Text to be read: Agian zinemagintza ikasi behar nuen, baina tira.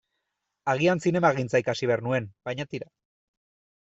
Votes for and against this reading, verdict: 2, 0, accepted